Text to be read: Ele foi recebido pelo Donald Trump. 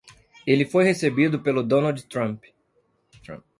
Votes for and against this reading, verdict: 1, 2, rejected